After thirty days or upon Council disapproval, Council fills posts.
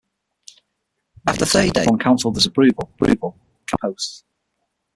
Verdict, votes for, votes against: rejected, 0, 6